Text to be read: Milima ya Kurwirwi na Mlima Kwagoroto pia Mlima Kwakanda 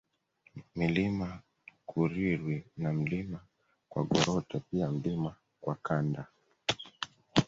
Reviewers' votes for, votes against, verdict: 2, 1, accepted